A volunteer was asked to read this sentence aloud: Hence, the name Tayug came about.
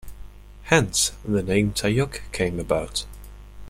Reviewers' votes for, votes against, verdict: 2, 0, accepted